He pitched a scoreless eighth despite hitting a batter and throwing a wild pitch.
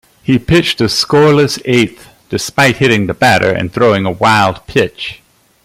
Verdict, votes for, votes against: accepted, 2, 0